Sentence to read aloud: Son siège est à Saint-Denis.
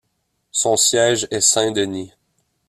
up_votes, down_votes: 0, 2